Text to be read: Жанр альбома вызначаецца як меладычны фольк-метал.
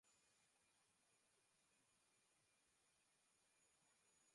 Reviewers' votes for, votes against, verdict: 0, 2, rejected